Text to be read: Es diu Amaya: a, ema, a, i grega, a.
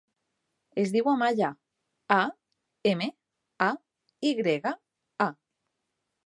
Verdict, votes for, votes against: rejected, 0, 2